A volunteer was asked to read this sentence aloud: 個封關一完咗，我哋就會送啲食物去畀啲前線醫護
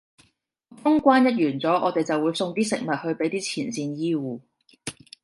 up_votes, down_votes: 0, 2